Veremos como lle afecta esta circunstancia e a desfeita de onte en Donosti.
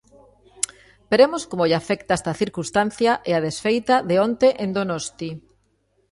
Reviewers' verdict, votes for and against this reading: accepted, 2, 0